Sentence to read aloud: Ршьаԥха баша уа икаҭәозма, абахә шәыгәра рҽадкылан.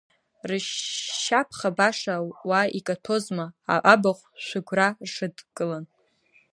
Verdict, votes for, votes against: rejected, 1, 2